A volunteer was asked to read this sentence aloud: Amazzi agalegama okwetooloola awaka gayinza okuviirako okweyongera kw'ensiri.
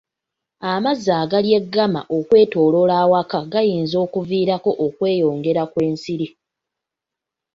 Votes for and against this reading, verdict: 1, 2, rejected